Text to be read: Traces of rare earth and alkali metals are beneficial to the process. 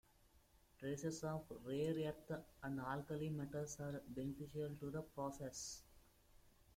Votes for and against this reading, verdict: 1, 2, rejected